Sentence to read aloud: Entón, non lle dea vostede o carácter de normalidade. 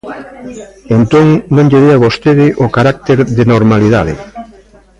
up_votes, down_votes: 0, 2